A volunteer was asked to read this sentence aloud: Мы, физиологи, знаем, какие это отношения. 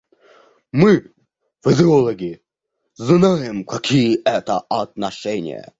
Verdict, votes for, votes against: rejected, 0, 2